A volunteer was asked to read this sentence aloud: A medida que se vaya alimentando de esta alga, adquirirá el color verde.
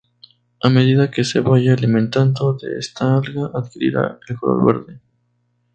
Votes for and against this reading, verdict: 2, 2, rejected